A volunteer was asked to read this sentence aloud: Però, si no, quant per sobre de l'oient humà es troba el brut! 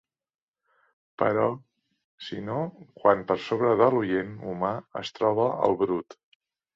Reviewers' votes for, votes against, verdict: 0, 3, rejected